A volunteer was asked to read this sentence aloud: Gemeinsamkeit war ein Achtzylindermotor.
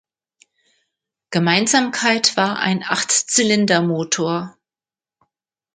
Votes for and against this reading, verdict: 2, 0, accepted